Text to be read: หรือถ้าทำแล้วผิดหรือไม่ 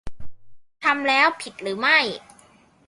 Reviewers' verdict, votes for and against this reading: rejected, 0, 2